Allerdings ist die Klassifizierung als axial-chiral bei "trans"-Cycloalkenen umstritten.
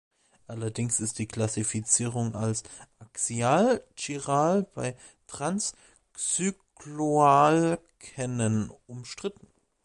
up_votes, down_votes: 2, 1